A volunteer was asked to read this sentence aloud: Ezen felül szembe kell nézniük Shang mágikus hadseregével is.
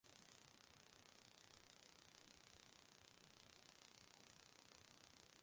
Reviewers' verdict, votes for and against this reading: rejected, 0, 2